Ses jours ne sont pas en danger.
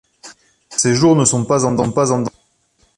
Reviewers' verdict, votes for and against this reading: rejected, 0, 2